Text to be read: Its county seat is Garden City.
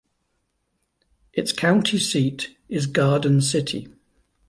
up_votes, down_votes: 2, 0